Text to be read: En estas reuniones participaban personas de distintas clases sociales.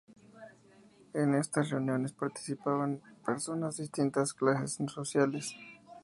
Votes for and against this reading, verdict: 0, 2, rejected